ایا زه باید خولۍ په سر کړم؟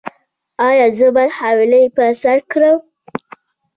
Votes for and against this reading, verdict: 0, 2, rejected